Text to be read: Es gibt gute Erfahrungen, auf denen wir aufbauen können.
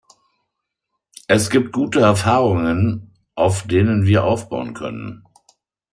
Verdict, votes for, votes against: accepted, 2, 0